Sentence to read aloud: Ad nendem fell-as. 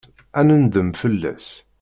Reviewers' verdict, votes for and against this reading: accepted, 2, 0